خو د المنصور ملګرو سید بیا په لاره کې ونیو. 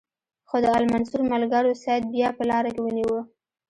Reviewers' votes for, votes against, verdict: 2, 0, accepted